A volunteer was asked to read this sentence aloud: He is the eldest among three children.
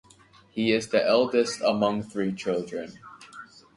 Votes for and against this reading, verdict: 2, 0, accepted